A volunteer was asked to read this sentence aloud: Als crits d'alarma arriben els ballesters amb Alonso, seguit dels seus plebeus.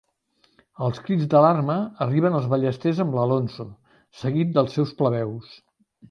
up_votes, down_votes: 0, 2